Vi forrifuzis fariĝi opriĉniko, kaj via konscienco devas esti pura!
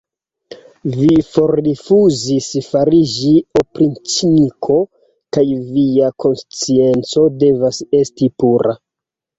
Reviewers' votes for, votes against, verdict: 2, 1, accepted